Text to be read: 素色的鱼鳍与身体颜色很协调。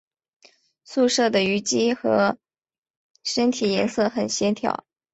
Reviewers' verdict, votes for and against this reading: accepted, 4, 3